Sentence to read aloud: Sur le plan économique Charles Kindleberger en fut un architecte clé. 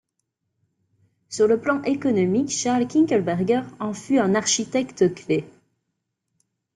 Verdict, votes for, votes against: accepted, 2, 0